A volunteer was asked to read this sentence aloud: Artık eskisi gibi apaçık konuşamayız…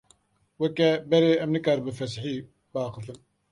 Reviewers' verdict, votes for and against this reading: rejected, 0, 2